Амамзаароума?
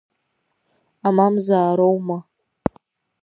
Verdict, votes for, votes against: accepted, 2, 1